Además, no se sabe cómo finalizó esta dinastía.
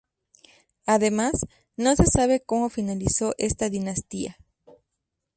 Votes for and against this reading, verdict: 2, 2, rejected